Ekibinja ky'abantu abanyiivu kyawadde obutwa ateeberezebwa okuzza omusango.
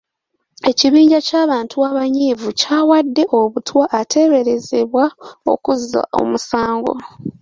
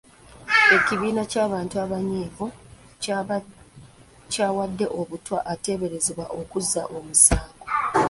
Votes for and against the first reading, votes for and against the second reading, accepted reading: 2, 0, 0, 2, first